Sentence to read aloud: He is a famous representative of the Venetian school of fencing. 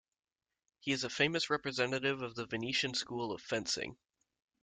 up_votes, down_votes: 2, 0